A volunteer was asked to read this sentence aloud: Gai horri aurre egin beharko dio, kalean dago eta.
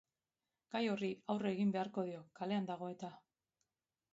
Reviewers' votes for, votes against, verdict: 2, 0, accepted